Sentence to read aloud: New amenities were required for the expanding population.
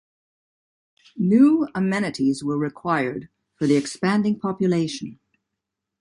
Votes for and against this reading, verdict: 2, 0, accepted